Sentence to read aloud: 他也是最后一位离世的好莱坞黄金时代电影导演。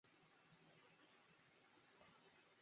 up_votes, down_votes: 0, 5